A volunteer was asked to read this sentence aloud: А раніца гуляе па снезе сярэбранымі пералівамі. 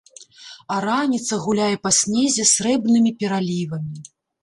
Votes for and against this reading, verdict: 0, 2, rejected